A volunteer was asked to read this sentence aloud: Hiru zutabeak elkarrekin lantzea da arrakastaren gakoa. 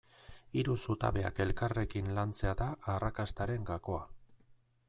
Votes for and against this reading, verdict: 2, 2, rejected